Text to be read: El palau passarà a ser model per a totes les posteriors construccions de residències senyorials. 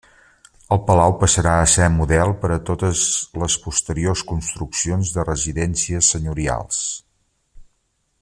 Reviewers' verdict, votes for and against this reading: accepted, 3, 0